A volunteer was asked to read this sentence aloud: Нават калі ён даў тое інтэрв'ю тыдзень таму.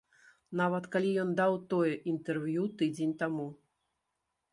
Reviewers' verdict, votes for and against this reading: accepted, 2, 0